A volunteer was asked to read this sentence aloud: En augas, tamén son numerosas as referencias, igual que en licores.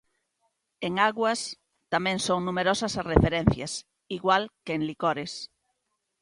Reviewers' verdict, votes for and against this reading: rejected, 0, 2